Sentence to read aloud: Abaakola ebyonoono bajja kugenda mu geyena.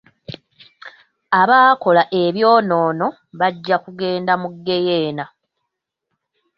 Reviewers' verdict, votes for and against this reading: accepted, 2, 0